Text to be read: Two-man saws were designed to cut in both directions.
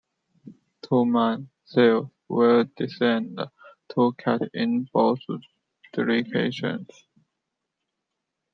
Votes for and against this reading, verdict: 0, 2, rejected